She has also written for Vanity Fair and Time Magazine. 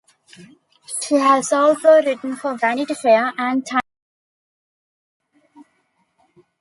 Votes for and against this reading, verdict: 0, 2, rejected